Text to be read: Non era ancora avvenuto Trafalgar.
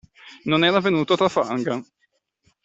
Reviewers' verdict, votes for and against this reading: rejected, 1, 2